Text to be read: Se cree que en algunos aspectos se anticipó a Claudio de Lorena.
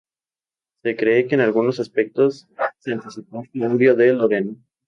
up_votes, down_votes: 2, 2